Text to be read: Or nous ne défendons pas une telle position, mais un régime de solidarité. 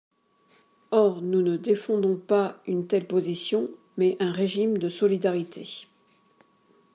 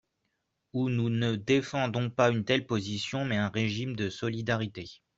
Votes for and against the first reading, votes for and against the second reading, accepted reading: 2, 0, 0, 2, first